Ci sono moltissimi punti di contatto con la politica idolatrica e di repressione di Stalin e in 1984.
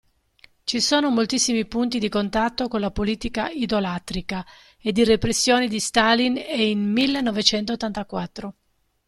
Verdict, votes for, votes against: rejected, 0, 2